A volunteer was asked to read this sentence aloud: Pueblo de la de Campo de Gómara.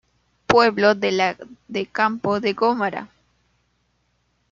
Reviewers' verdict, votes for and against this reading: rejected, 1, 2